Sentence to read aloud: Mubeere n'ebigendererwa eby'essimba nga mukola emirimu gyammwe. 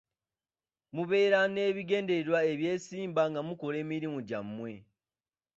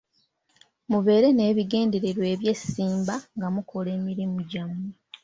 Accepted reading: second